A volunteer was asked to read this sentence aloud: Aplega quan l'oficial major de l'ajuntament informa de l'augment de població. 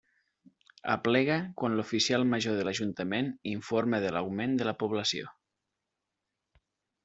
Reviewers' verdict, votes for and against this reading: rejected, 0, 2